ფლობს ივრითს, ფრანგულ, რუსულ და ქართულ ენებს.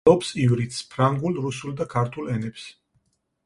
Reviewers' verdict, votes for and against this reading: rejected, 2, 4